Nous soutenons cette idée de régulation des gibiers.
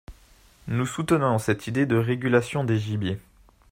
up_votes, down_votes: 2, 0